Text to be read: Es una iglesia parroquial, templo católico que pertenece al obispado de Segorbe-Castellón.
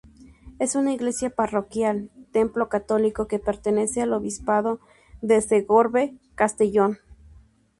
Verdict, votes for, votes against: accepted, 2, 0